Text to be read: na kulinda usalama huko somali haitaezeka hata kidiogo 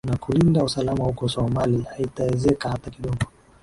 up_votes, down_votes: 2, 1